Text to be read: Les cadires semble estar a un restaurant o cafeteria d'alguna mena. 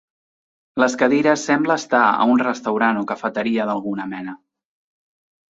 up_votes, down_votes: 2, 0